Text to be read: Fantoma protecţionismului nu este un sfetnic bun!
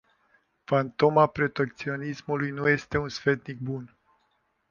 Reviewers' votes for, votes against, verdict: 2, 0, accepted